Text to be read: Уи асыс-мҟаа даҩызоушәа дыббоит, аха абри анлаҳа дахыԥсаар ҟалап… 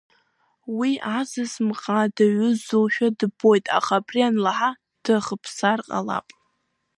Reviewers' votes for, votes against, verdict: 0, 3, rejected